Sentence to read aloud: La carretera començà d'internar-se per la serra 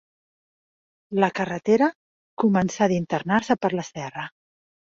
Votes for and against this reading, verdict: 3, 0, accepted